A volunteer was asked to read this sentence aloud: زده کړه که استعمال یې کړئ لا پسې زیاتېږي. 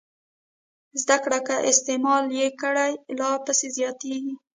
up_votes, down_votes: 1, 2